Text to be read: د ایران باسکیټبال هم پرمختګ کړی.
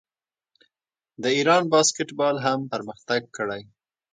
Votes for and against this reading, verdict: 3, 0, accepted